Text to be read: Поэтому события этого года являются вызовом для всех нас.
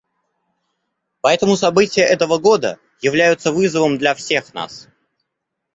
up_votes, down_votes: 2, 0